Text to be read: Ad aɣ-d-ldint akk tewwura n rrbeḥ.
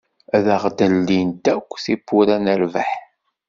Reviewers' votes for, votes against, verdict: 2, 0, accepted